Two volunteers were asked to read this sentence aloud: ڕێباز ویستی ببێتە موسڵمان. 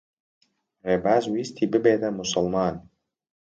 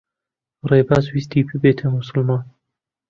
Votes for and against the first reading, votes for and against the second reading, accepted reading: 2, 0, 1, 2, first